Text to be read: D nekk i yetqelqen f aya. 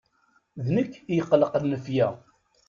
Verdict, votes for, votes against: rejected, 1, 2